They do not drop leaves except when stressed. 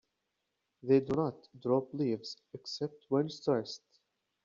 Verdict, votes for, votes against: accepted, 2, 1